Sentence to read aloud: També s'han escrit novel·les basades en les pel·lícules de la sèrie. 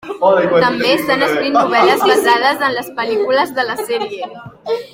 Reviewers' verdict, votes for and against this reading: rejected, 0, 2